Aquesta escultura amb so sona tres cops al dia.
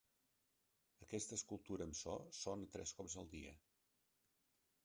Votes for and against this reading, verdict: 2, 0, accepted